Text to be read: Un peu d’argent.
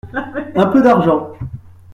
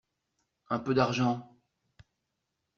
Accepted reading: second